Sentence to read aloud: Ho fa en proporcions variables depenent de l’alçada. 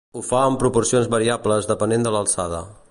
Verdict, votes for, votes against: accepted, 2, 0